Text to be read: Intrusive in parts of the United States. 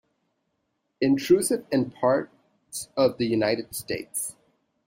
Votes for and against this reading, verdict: 2, 0, accepted